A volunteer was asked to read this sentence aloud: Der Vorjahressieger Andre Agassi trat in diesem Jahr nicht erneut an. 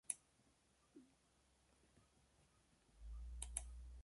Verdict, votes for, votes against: rejected, 0, 2